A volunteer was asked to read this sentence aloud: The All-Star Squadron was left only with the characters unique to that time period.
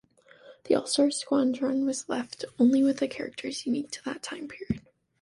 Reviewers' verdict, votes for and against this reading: rejected, 1, 2